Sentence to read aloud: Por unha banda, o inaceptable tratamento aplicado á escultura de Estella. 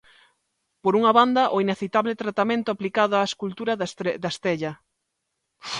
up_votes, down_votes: 0, 2